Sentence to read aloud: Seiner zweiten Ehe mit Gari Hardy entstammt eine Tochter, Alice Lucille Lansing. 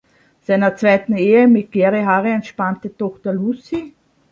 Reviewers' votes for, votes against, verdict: 0, 2, rejected